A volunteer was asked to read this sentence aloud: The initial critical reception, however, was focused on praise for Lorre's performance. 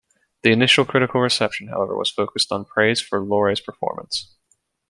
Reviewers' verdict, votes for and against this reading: accepted, 2, 0